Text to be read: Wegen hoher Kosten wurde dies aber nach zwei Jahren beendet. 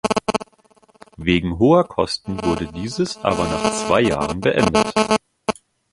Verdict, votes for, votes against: rejected, 0, 2